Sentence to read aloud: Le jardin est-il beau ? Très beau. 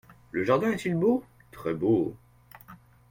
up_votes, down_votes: 1, 2